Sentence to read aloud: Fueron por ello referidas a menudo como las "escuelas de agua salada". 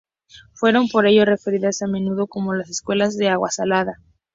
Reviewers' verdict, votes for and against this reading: accepted, 4, 0